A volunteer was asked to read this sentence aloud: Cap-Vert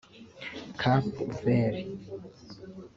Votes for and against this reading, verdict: 1, 2, rejected